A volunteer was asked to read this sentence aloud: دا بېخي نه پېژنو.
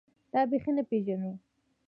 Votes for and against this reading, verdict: 2, 0, accepted